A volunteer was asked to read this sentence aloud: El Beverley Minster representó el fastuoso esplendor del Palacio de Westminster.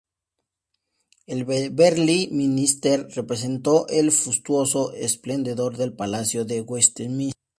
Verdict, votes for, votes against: rejected, 0, 4